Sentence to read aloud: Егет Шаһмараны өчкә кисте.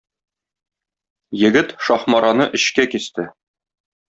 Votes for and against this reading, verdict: 2, 0, accepted